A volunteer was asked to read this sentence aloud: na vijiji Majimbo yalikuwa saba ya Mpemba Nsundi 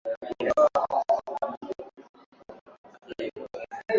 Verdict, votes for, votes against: rejected, 0, 2